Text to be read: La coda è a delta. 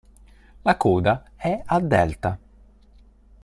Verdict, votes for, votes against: accepted, 3, 0